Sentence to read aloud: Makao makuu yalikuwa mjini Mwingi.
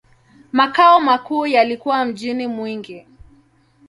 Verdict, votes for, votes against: accepted, 2, 0